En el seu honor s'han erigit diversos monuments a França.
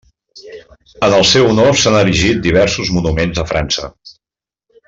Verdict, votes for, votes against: accepted, 2, 0